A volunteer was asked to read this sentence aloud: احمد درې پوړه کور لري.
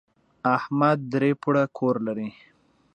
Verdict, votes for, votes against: accepted, 2, 0